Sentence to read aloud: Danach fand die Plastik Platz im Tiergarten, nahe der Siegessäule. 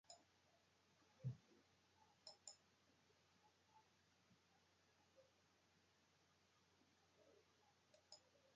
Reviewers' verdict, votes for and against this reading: rejected, 0, 2